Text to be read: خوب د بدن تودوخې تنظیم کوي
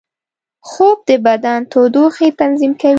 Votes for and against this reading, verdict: 1, 2, rejected